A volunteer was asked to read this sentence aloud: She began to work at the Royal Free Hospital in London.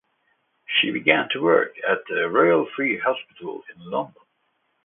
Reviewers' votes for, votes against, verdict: 2, 0, accepted